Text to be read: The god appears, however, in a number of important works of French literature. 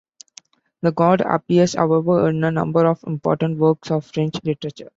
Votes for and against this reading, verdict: 2, 1, accepted